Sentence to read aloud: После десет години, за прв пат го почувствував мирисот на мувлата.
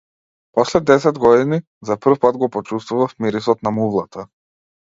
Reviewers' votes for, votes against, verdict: 2, 0, accepted